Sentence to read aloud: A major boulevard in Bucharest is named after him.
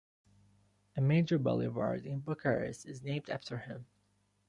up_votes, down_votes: 2, 1